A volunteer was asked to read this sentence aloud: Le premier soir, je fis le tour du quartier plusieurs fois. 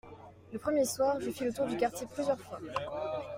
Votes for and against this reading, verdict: 2, 0, accepted